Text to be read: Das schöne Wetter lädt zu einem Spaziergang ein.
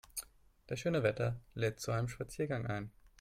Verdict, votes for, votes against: accepted, 4, 0